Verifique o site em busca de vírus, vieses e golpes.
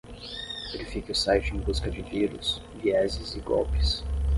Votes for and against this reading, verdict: 5, 5, rejected